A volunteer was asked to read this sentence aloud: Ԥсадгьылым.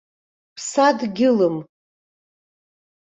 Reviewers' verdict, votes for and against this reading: rejected, 1, 2